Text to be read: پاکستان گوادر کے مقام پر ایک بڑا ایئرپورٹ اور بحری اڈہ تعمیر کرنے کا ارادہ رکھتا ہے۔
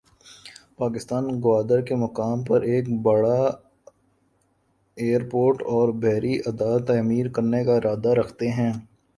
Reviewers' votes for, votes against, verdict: 2, 3, rejected